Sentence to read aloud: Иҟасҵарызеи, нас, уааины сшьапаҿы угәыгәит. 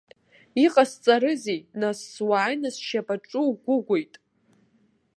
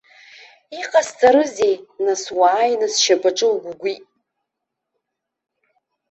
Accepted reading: second